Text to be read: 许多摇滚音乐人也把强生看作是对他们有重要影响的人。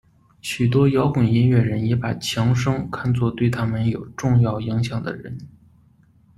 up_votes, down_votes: 1, 2